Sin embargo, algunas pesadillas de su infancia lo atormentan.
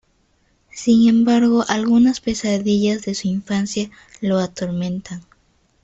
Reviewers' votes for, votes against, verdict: 2, 0, accepted